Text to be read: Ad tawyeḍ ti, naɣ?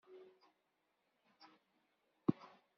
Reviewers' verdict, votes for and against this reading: rejected, 0, 2